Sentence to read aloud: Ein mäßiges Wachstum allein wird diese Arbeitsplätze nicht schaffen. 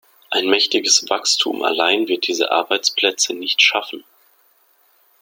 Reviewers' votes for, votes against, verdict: 1, 2, rejected